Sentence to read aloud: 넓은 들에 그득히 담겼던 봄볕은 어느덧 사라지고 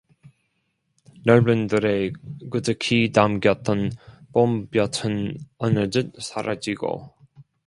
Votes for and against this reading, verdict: 0, 2, rejected